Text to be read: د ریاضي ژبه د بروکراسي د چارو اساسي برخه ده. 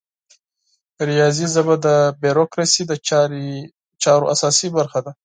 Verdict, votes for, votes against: accepted, 4, 0